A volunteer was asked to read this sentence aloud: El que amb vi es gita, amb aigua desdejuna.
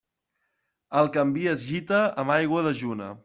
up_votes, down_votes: 0, 2